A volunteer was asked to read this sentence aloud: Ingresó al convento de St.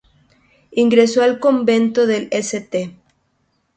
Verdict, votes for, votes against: rejected, 0, 2